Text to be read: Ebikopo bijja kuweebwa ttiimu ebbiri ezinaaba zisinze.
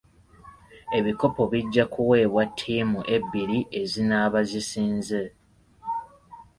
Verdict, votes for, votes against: accepted, 2, 0